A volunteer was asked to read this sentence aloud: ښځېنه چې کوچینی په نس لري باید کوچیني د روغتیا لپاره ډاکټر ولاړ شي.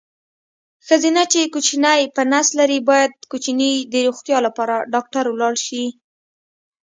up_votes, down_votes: 3, 0